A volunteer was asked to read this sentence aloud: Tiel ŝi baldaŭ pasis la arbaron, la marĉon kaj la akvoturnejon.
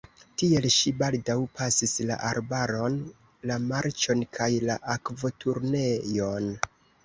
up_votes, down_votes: 2, 0